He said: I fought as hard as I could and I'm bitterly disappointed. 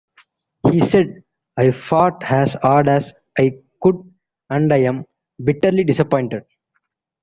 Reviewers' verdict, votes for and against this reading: rejected, 1, 2